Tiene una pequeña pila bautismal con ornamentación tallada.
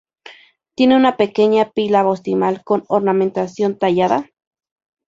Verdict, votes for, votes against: rejected, 0, 2